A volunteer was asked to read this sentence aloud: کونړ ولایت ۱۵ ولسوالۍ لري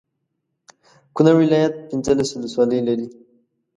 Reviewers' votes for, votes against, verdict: 0, 2, rejected